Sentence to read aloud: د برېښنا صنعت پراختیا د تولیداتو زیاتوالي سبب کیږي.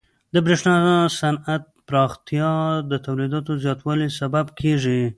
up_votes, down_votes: 2, 0